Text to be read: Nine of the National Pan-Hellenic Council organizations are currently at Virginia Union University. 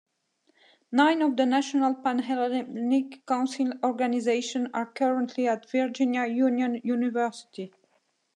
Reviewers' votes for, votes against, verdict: 2, 0, accepted